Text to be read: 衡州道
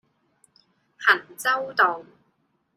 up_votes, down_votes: 2, 0